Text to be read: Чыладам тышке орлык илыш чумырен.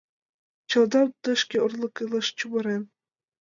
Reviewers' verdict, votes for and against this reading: rejected, 0, 2